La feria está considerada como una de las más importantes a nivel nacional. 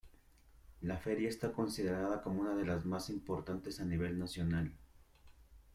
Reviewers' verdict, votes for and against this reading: accepted, 2, 0